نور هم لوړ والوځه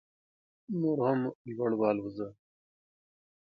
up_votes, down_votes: 1, 2